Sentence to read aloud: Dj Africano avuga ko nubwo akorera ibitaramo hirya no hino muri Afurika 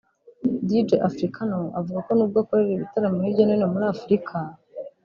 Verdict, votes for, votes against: accepted, 2, 0